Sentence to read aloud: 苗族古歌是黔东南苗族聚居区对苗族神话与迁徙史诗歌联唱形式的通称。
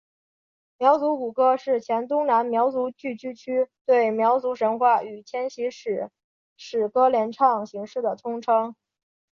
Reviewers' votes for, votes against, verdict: 5, 1, accepted